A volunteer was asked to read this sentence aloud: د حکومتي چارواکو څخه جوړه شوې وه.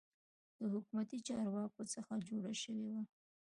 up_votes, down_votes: 1, 2